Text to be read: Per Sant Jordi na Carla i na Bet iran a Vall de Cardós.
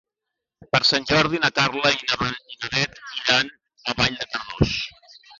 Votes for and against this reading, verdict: 0, 2, rejected